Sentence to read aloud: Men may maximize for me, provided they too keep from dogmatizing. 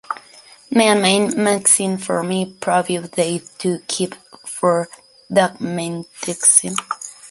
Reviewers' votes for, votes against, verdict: 0, 2, rejected